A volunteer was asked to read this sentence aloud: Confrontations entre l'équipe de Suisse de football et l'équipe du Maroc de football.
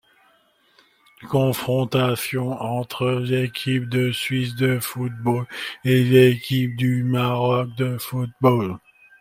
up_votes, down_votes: 2, 1